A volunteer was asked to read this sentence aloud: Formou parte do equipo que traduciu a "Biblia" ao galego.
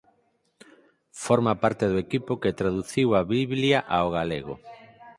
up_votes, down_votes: 0, 4